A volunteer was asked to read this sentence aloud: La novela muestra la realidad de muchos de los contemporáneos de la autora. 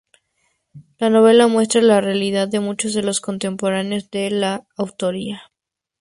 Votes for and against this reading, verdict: 0, 2, rejected